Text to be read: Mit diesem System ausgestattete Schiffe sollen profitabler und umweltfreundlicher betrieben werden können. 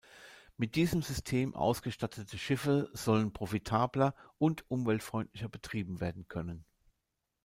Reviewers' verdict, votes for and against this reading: accepted, 2, 0